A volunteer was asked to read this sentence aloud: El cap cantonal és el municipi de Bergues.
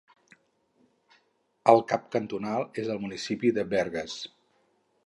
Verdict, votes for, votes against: accepted, 4, 0